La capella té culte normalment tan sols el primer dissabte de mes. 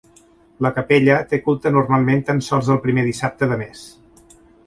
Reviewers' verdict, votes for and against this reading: accepted, 2, 0